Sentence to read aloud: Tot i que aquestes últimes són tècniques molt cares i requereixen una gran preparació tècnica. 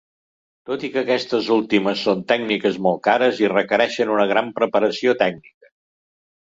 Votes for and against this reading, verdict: 1, 2, rejected